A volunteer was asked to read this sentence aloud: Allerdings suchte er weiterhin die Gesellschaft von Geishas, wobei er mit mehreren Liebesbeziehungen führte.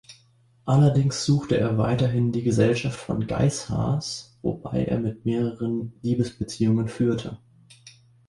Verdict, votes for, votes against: accepted, 2, 0